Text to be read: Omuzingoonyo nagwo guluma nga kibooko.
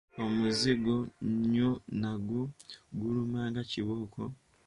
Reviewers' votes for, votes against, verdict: 1, 2, rejected